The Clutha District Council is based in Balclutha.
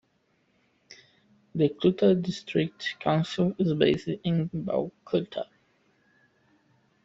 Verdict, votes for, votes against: accepted, 2, 1